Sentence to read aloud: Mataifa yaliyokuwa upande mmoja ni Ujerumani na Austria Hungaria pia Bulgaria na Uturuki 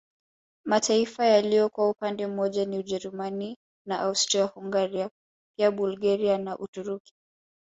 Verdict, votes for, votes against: rejected, 1, 2